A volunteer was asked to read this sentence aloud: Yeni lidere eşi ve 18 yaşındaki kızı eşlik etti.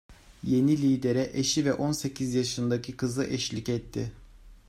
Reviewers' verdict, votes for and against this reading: rejected, 0, 2